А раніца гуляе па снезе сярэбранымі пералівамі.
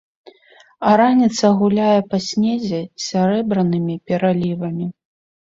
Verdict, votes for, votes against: accepted, 3, 0